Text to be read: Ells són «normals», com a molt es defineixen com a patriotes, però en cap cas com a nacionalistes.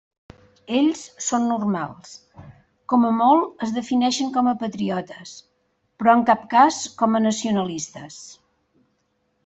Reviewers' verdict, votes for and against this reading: accepted, 3, 0